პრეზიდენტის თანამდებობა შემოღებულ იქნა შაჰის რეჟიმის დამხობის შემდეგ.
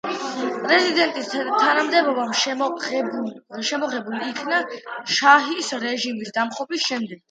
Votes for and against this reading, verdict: 2, 0, accepted